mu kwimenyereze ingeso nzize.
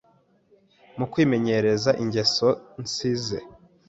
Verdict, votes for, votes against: accepted, 2, 0